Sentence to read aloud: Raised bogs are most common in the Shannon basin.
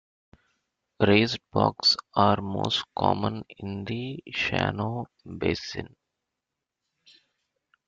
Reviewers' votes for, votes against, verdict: 2, 0, accepted